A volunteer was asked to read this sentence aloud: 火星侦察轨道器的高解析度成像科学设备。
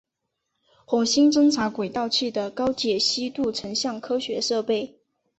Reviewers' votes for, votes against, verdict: 6, 0, accepted